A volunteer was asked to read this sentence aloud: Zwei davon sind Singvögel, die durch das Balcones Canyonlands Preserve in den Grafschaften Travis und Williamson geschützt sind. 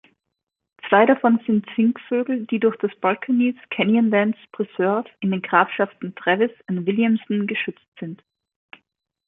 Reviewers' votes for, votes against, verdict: 2, 0, accepted